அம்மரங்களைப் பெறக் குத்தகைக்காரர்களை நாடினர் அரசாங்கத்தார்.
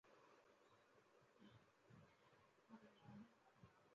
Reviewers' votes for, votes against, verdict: 1, 2, rejected